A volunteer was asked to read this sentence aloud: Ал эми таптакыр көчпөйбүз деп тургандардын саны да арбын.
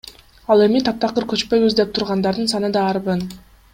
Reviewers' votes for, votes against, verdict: 2, 0, accepted